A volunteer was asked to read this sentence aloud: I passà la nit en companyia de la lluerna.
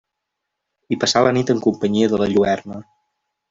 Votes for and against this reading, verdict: 2, 0, accepted